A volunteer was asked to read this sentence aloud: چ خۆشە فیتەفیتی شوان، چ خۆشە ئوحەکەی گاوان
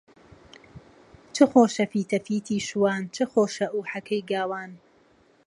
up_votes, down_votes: 2, 0